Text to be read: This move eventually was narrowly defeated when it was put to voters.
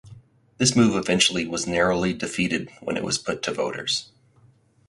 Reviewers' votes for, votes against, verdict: 2, 0, accepted